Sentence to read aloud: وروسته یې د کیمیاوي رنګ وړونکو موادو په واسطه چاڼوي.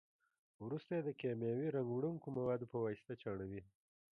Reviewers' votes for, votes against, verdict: 2, 1, accepted